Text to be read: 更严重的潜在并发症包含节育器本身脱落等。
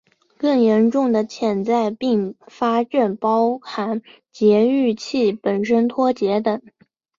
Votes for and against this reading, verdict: 1, 2, rejected